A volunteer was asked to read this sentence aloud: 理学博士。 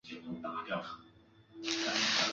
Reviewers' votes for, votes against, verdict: 1, 4, rejected